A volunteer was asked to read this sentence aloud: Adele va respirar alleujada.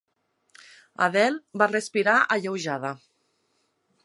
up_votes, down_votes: 6, 0